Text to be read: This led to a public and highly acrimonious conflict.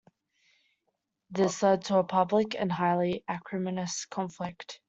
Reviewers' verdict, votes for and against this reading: rejected, 1, 2